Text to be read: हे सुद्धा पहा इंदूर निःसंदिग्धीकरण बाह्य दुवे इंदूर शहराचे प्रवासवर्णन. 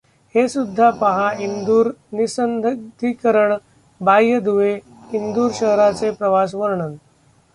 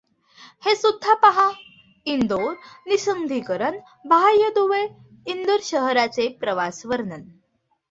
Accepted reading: second